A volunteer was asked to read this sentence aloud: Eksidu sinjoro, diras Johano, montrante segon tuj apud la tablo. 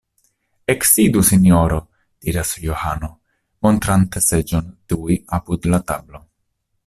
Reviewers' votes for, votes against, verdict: 0, 2, rejected